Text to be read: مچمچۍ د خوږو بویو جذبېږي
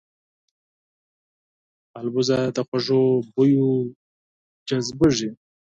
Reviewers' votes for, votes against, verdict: 2, 4, rejected